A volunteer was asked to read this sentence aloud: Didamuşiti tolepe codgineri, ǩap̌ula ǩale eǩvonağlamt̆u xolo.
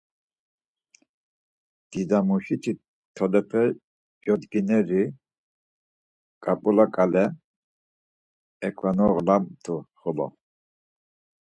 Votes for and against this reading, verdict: 4, 0, accepted